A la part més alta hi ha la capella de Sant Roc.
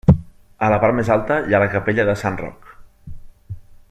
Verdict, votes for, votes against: accepted, 2, 0